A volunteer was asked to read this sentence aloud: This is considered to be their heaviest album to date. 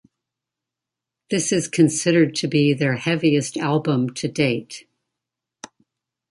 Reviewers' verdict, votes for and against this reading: accepted, 2, 0